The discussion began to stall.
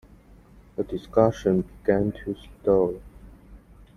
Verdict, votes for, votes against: accepted, 2, 0